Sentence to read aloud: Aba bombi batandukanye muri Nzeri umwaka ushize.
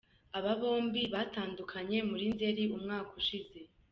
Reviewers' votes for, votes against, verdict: 2, 0, accepted